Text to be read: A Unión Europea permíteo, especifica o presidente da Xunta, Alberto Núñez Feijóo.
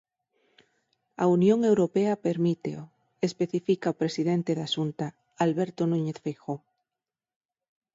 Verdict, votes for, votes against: accepted, 6, 0